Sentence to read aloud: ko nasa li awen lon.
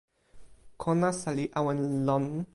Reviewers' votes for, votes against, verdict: 2, 0, accepted